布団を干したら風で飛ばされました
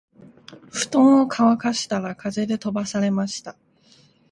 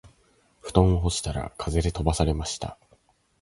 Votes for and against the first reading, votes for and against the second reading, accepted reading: 0, 3, 2, 0, second